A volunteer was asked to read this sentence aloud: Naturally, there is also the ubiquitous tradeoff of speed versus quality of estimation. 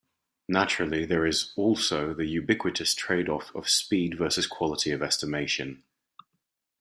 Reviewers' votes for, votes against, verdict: 2, 0, accepted